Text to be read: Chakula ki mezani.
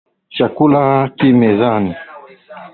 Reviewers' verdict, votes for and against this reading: accepted, 5, 0